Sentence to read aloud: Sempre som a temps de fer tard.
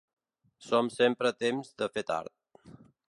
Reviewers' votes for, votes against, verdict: 1, 2, rejected